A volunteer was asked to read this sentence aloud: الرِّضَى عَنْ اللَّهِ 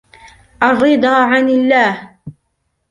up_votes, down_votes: 3, 1